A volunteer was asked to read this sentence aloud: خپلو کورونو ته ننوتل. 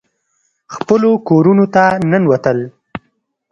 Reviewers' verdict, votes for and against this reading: accepted, 2, 0